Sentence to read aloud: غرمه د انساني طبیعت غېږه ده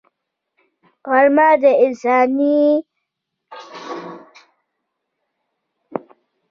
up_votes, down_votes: 1, 2